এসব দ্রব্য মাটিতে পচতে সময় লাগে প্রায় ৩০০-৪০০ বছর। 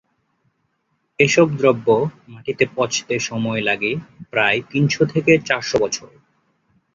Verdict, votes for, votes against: rejected, 0, 2